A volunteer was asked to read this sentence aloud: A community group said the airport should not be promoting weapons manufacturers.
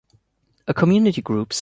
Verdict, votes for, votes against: rejected, 0, 2